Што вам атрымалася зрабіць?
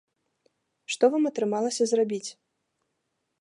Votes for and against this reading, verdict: 2, 0, accepted